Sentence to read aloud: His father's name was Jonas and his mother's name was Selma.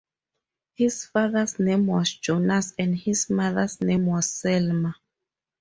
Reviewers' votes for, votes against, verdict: 2, 2, rejected